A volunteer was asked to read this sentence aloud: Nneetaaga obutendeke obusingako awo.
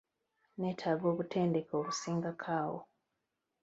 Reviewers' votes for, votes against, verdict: 1, 2, rejected